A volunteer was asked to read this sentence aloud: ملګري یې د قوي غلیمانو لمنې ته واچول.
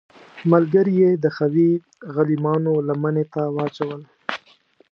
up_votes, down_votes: 2, 1